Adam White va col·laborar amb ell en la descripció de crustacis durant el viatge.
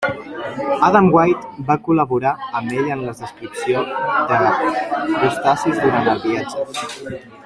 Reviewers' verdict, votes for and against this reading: rejected, 0, 2